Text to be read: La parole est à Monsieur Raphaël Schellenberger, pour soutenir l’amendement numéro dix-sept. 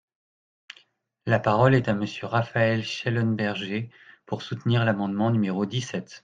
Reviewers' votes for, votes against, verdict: 2, 0, accepted